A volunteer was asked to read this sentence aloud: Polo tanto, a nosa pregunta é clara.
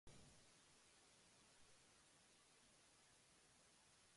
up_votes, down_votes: 0, 2